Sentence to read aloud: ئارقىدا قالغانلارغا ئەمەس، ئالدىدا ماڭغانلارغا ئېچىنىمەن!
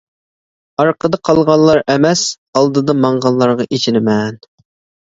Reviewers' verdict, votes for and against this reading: rejected, 1, 2